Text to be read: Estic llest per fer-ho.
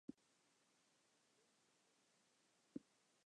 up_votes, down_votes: 0, 2